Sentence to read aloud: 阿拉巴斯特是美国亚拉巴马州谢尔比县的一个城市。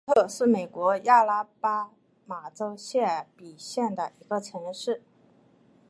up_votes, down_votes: 0, 2